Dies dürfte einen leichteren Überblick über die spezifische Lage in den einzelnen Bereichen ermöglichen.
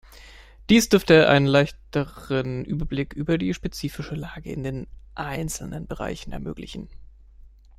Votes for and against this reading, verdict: 1, 2, rejected